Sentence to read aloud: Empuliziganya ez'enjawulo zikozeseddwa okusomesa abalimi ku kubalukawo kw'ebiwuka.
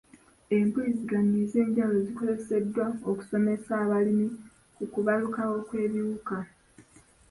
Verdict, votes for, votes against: rejected, 0, 2